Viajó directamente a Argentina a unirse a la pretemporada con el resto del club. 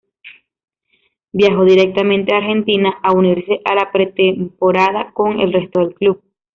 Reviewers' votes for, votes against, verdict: 2, 0, accepted